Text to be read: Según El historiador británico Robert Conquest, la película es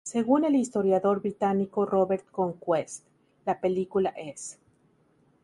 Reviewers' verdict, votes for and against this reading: accepted, 2, 0